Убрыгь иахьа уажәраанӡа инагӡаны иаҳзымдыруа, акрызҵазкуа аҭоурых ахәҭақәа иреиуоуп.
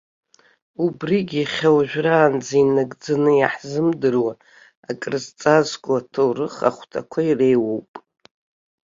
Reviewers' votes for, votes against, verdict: 3, 0, accepted